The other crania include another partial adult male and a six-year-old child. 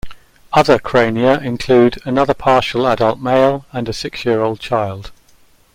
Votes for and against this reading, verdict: 0, 2, rejected